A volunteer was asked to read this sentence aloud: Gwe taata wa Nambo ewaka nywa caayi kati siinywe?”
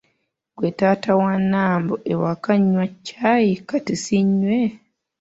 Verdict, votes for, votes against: accepted, 2, 0